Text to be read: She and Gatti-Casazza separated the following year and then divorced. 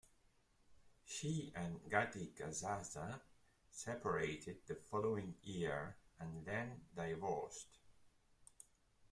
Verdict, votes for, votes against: accepted, 3, 2